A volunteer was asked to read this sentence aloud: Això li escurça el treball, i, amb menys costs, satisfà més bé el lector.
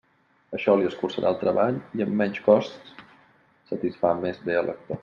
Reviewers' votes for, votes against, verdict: 1, 2, rejected